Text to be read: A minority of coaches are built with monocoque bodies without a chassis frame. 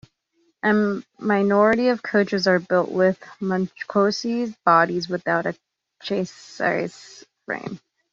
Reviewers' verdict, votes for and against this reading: rejected, 1, 2